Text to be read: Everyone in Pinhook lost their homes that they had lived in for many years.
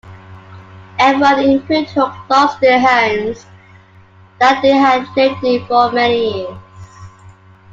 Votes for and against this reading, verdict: 0, 2, rejected